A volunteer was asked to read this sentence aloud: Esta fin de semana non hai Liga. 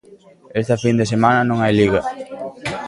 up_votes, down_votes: 0, 2